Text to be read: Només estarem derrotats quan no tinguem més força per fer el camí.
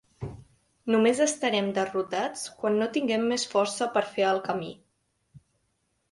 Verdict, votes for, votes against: accepted, 4, 0